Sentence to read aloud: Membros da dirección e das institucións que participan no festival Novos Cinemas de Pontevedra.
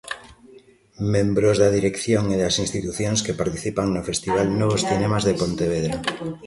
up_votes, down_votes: 2, 1